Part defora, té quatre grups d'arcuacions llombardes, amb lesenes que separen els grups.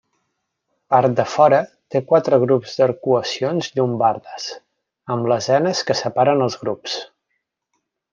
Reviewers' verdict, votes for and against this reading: accepted, 2, 0